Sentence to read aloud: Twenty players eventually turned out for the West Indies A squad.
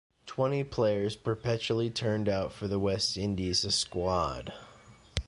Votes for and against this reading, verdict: 1, 2, rejected